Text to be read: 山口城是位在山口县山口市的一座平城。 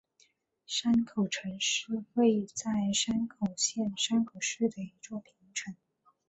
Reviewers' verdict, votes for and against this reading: accepted, 5, 1